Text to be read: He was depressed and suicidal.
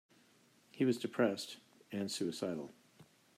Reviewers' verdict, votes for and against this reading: accepted, 2, 0